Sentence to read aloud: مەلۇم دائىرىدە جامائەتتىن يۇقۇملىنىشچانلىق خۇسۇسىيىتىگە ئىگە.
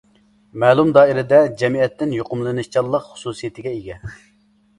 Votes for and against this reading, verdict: 0, 2, rejected